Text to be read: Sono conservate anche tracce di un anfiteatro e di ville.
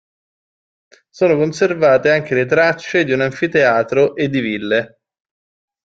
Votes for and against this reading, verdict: 2, 0, accepted